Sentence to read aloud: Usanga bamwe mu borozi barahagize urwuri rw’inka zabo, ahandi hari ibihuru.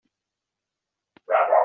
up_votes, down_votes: 0, 3